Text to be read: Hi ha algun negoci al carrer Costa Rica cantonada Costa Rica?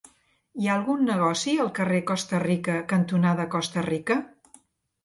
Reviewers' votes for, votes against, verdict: 4, 0, accepted